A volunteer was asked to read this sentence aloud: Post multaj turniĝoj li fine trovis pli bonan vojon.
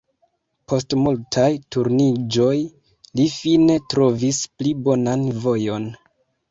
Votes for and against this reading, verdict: 1, 2, rejected